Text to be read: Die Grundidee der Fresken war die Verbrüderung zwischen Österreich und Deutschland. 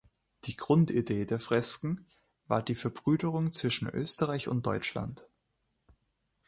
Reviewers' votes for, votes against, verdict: 3, 0, accepted